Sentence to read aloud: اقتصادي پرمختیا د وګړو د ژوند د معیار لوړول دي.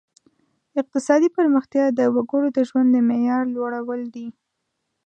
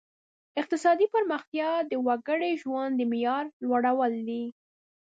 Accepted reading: first